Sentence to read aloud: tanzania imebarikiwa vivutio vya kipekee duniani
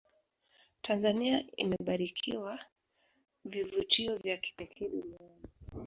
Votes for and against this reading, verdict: 1, 2, rejected